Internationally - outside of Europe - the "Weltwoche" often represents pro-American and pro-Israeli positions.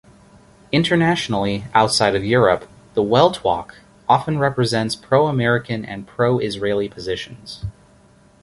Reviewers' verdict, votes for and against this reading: accepted, 2, 0